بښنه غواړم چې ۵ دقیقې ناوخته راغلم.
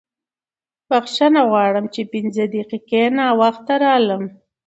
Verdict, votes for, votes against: rejected, 0, 2